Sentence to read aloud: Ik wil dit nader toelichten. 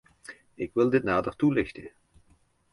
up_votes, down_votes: 2, 0